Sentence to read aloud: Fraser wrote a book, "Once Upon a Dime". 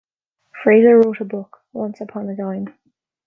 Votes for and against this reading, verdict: 1, 2, rejected